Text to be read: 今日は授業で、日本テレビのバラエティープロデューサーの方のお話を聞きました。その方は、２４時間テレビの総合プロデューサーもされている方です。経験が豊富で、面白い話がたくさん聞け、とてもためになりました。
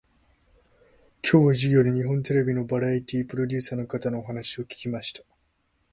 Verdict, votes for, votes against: rejected, 0, 2